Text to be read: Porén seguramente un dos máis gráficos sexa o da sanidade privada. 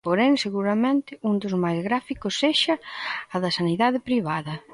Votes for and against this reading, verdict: 0, 2, rejected